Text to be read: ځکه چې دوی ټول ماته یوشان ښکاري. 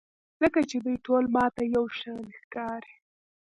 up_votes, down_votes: 1, 2